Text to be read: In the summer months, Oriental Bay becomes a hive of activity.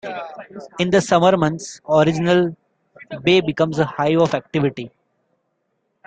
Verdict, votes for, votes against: rejected, 1, 2